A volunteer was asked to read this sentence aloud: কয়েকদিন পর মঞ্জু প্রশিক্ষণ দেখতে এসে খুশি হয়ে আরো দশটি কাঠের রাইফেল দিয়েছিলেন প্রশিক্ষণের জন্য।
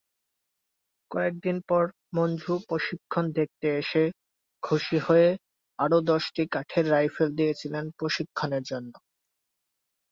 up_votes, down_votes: 2, 3